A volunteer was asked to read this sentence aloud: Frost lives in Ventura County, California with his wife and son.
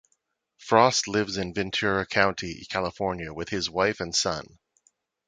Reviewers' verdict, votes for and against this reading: accepted, 2, 0